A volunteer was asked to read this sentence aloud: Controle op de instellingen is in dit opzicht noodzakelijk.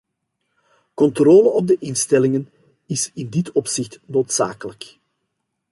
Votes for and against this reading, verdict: 2, 0, accepted